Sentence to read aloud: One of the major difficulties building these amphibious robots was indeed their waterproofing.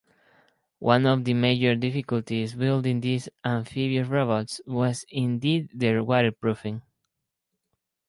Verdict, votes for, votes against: rejected, 0, 4